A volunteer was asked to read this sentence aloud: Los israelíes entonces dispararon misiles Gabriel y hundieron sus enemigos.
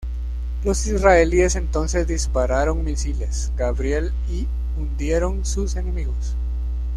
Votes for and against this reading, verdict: 2, 0, accepted